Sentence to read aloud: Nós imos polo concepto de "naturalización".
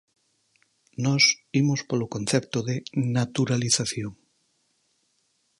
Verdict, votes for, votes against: accepted, 4, 0